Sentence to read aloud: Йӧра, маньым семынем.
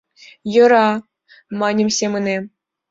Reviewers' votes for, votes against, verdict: 2, 0, accepted